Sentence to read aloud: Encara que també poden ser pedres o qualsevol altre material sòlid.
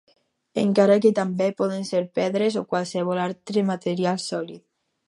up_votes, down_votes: 4, 0